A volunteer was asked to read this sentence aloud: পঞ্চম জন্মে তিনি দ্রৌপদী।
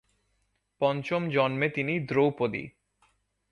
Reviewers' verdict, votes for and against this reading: accepted, 2, 0